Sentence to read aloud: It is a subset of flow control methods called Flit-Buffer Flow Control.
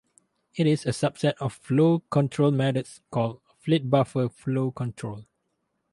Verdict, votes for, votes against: accepted, 2, 0